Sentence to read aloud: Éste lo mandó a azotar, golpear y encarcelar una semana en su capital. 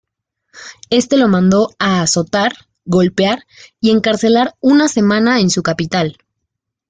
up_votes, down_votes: 2, 1